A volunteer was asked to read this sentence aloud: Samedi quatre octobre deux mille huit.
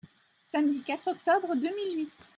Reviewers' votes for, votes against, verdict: 2, 0, accepted